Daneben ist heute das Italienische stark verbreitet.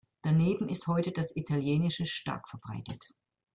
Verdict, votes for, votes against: accepted, 2, 0